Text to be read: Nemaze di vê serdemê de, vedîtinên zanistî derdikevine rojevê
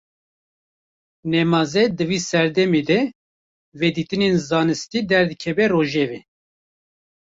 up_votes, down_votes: 0, 2